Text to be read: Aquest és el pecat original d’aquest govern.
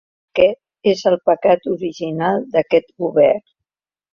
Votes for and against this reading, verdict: 0, 2, rejected